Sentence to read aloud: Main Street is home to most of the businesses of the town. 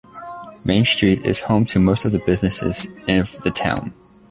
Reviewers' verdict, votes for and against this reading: accepted, 2, 1